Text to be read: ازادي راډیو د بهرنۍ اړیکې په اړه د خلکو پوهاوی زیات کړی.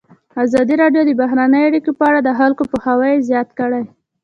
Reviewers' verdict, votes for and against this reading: accepted, 2, 0